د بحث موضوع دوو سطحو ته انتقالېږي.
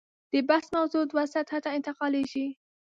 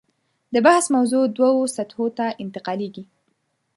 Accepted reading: second